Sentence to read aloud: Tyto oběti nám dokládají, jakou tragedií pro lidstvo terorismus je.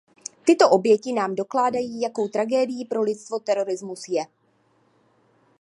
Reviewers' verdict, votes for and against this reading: accepted, 2, 0